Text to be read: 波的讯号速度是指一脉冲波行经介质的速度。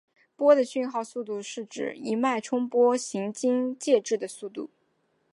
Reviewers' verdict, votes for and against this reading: accepted, 2, 1